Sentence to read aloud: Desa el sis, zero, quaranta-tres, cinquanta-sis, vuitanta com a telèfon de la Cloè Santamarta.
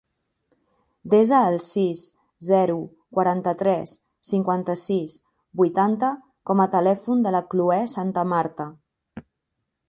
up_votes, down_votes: 2, 0